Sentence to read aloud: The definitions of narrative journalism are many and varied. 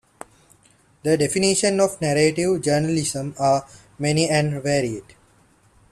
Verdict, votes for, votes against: accepted, 2, 1